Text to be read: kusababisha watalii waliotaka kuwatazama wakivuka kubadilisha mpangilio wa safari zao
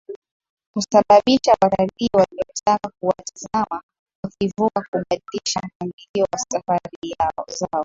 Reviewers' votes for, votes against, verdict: 0, 3, rejected